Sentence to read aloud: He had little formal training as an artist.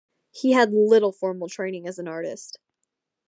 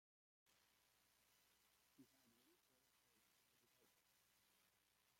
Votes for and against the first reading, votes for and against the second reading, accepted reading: 2, 0, 1, 2, first